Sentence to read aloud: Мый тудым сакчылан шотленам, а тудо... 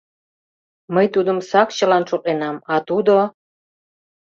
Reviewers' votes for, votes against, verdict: 2, 0, accepted